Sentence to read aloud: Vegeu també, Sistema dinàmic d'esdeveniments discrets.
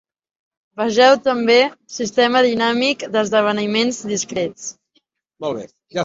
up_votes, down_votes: 1, 5